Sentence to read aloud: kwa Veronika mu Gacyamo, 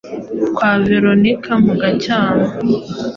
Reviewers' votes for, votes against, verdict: 2, 0, accepted